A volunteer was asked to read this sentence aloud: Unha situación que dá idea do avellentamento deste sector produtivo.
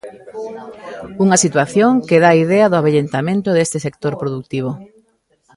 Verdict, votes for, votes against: rejected, 0, 2